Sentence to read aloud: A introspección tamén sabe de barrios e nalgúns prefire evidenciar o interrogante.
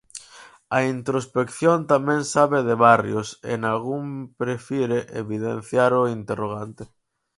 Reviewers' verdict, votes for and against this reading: rejected, 0, 4